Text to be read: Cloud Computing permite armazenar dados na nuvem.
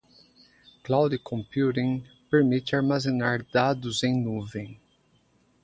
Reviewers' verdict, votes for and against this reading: rejected, 0, 2